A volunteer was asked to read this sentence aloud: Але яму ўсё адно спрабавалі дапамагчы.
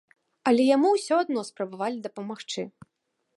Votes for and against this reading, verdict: 2, 0, accepted